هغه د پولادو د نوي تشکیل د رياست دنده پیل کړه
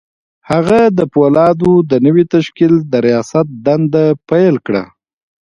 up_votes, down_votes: 2, 1